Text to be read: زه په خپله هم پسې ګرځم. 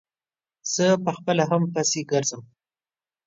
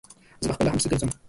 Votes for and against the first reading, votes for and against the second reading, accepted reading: 2, 0, 0, 2, first